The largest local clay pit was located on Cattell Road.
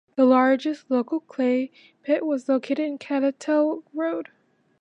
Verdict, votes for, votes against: accepted, 2, 0